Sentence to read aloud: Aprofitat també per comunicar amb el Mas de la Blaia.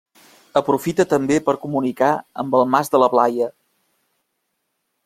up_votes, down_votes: 1, 2